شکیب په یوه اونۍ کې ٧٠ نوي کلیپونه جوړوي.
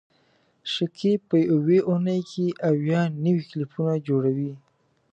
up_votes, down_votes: 0, 2